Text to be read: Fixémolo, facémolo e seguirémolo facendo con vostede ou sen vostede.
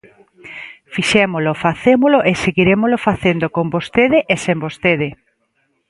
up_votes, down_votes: 0, 2